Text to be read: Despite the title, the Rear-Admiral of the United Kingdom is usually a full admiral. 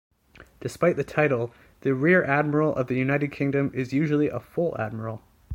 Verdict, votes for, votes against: accepted, 2, 0